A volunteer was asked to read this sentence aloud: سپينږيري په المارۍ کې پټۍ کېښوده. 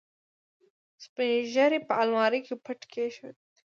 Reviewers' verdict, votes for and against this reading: rejected, 1, 2